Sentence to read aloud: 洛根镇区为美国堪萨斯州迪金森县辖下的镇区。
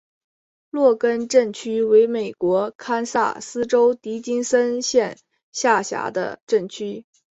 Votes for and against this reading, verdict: 2, 0, accepted